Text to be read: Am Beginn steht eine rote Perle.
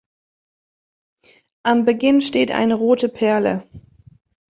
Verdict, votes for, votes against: accepted, 2, 0